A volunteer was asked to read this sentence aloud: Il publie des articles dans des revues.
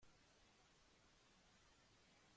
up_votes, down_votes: 0, 2